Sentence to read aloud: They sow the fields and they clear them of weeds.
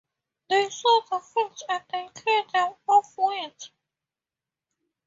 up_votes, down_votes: 2, 0